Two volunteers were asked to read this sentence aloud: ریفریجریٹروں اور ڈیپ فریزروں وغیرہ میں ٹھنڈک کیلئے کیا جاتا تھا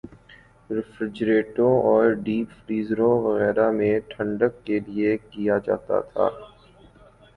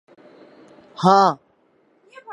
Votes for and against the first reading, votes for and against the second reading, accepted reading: 3, 0, 2, 6, first